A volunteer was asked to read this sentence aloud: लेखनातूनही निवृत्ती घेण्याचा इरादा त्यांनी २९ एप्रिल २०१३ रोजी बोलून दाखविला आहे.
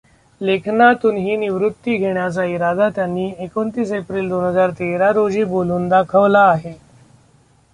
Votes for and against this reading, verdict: 0, 2, rejected